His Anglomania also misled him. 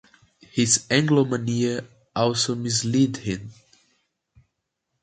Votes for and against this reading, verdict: 0, 2, rejected